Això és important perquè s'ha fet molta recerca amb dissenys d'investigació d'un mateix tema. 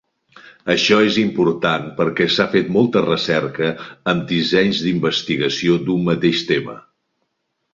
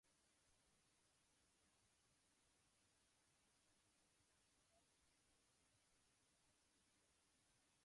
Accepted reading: first